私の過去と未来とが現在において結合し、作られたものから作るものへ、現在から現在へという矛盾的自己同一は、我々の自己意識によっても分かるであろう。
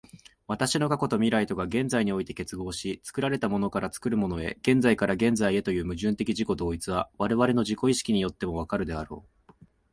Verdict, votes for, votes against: accepted, 2, 1